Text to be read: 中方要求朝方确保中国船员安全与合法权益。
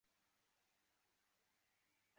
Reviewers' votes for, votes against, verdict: 0, 5, rejected